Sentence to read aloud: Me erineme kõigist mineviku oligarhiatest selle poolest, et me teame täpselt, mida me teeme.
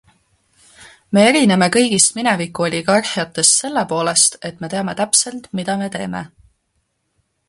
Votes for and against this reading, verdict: 2, 0, accepted